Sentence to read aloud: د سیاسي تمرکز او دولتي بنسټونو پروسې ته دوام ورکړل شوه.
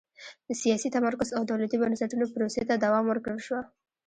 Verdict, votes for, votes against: rejected, 1, 2